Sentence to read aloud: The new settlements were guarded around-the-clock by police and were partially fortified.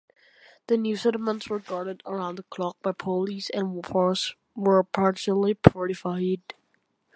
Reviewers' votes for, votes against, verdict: 0, 2, rejected